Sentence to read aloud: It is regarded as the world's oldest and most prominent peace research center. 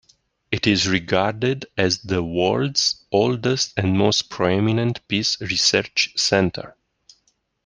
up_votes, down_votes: 1, 2